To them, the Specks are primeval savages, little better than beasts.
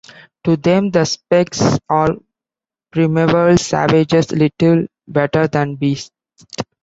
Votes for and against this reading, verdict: 0, 2, rejected